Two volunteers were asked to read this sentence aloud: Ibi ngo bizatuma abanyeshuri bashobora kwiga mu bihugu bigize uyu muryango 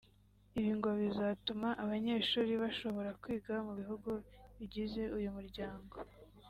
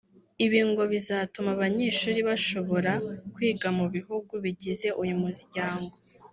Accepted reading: first